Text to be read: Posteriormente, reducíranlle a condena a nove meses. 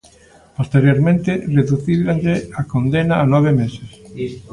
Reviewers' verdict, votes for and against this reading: rejected, 1, 2